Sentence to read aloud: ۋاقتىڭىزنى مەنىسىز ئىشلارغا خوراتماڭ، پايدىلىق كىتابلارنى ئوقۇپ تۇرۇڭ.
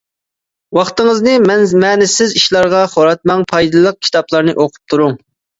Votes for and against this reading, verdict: 0, 2, rejected